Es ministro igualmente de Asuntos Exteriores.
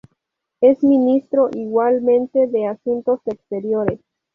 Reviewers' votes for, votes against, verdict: 0, 2, rejected